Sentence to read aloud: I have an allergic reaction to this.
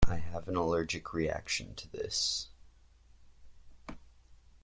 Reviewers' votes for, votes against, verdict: 2, 0, accepted